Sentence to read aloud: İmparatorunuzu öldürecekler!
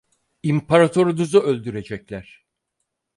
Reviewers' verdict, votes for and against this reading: rejected, 2, 4